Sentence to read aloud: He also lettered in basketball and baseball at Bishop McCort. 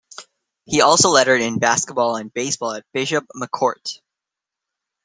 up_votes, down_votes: 2, 0